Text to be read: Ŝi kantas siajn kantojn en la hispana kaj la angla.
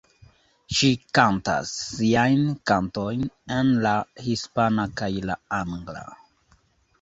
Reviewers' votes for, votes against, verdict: 0, 2, rejected